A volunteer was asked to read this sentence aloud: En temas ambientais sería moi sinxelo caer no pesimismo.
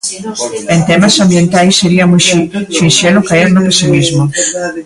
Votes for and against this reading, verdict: 0, 2, rejected